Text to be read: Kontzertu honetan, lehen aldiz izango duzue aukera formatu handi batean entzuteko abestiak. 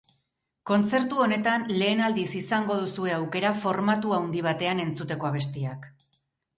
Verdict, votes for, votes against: rejected, 0, 4